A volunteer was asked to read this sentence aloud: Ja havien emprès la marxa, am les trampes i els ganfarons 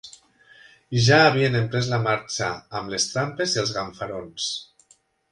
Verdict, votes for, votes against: accepted, 2, 0